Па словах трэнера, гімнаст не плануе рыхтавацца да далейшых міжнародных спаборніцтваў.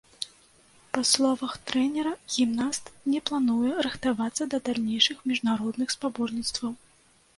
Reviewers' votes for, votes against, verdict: 0, 2, rejected